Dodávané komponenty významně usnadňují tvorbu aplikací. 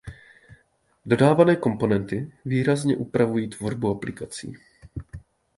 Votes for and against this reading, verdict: 0, 2, rejected